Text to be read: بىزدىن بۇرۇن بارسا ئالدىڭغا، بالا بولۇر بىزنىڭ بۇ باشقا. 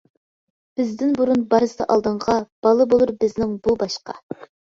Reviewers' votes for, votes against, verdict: 3, 0, accepted